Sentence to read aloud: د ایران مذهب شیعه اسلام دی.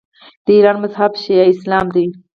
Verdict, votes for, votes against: rejected, 2, 4